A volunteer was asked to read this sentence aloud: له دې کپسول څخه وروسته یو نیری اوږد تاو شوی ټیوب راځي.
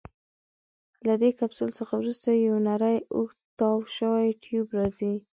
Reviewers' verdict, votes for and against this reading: accepted, 2, 1